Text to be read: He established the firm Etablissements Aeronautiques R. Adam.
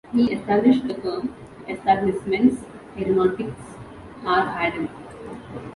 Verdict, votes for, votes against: accepted, 2, 0